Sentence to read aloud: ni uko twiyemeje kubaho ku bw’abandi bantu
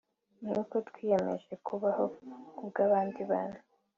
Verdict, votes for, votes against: accepted, 2, 0